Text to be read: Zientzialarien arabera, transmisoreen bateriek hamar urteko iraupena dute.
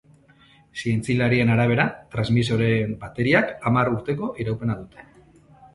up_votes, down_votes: 2, 1